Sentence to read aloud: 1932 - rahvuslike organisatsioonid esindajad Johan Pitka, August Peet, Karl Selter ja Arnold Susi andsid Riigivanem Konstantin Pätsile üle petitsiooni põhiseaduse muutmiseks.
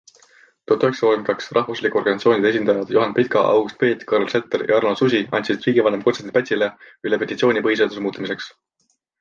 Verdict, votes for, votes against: rejected, 0, 2